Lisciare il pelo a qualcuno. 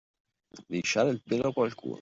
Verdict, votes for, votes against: accepted, 2, 1